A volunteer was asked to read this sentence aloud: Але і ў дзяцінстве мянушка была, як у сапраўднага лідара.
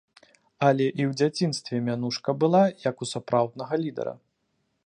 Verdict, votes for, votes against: accepted, 2, 0